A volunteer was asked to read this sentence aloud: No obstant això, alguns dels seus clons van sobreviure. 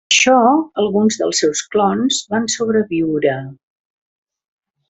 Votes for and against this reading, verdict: 0, 2, rejected